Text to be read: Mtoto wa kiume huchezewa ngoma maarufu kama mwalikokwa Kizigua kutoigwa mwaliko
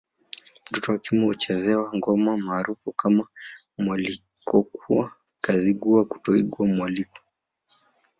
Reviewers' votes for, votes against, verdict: 1, 2, rejected